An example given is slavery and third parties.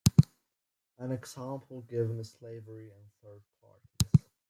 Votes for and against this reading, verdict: 0, 2, rejected